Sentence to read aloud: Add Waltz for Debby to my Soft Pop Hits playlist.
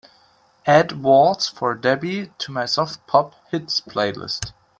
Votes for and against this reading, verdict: 2, 0, accepted